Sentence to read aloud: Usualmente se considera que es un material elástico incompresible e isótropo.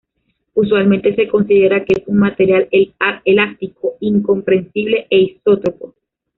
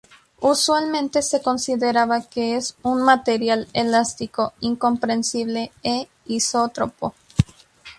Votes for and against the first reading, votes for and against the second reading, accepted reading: 1, 2, 2, 0, second